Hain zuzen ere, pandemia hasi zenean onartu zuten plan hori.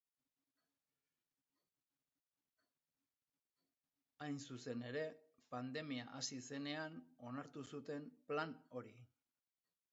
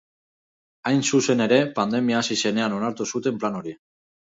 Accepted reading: second